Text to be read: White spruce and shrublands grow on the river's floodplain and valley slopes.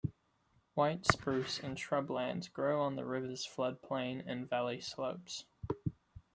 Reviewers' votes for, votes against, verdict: 2, 0, accepted